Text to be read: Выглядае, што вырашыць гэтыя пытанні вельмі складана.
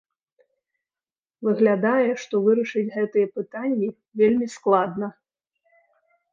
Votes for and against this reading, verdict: 0, 2, rejected